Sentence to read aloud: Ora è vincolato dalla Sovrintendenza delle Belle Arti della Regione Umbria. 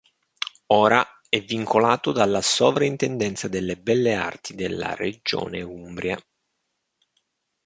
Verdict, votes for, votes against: accepted, 2, 0